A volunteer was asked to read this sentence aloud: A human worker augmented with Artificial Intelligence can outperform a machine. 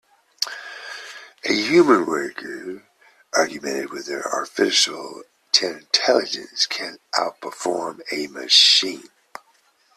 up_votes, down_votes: 0, 2